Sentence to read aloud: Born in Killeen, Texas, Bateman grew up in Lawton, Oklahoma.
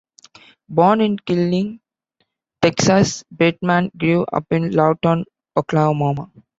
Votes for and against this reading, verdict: 2, 1, accepted